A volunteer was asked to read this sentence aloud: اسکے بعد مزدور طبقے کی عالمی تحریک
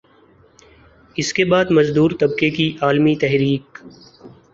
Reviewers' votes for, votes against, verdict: 4, 0, accepted